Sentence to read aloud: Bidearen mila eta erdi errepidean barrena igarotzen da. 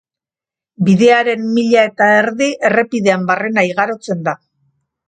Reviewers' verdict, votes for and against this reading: accepted, 2, 0